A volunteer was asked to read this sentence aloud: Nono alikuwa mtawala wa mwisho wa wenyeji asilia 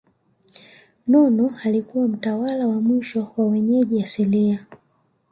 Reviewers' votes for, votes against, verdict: 2, 1, accepted